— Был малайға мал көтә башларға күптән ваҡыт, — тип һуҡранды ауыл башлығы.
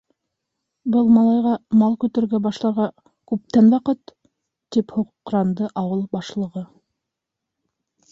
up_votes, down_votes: 1, 2